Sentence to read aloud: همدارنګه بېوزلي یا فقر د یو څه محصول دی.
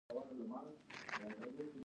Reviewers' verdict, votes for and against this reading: rejected, 0, 2